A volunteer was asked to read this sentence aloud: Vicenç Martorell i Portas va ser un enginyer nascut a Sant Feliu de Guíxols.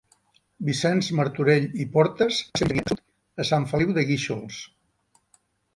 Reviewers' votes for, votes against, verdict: 0, 2, rejected